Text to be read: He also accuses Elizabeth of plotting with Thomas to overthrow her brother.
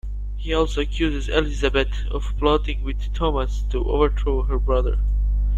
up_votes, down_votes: 2, 0